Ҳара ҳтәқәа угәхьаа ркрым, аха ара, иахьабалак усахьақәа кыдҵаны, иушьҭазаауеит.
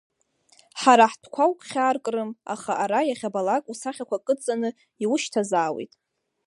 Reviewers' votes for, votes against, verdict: 2, 0, accepted